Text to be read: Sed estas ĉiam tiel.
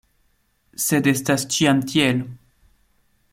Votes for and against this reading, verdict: 2, 0, accepted